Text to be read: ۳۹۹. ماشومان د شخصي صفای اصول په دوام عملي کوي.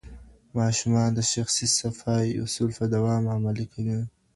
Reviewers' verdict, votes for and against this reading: rejected, 0, 2